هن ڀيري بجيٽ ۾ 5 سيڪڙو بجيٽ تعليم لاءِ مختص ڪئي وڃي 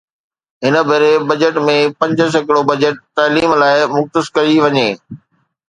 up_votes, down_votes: 0, 2